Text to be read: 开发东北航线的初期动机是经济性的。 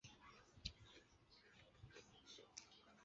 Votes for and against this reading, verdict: 0, 3, rejected